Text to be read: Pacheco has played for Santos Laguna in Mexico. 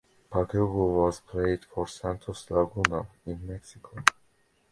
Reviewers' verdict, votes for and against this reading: rejected, 0, 2